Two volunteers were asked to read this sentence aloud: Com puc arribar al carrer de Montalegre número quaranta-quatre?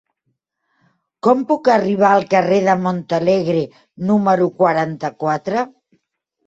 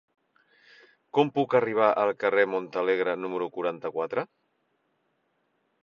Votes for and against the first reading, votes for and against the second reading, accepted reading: 3, 0, 1, 2, first